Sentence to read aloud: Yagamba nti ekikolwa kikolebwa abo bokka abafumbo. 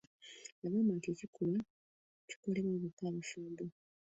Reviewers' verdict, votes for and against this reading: rejected, 0, 2